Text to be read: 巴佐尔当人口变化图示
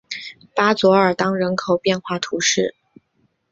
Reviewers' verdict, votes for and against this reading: accepted, 4, 0